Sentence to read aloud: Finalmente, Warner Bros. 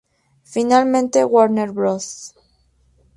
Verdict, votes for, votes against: rejected, 2, 2